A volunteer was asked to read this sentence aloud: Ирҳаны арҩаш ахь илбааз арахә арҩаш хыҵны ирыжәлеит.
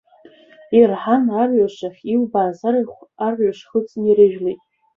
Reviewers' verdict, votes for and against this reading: rejected, 0, 2